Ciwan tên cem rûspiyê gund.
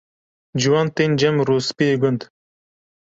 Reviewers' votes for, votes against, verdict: 2, 0, accepted